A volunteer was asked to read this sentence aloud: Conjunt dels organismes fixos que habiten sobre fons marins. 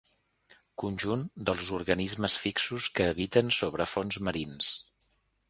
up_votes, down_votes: 3, 0